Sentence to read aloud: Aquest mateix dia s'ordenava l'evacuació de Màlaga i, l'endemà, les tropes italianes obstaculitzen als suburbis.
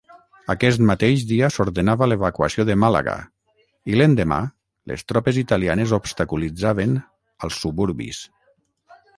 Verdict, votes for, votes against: rejected, 0, 9